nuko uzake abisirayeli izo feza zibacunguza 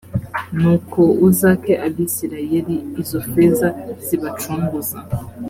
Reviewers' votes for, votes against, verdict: 3, 0, accepted